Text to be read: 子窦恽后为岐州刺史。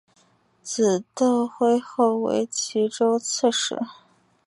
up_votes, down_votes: 1, 2